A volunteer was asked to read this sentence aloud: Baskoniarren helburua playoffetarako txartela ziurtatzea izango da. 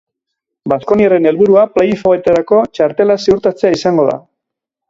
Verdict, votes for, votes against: accepted, 4, 0